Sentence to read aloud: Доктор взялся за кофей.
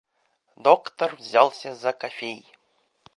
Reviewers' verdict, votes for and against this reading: accepted, 2, 0